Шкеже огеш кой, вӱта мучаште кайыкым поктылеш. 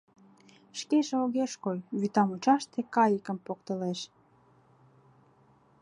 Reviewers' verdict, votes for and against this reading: accepted, 2, 0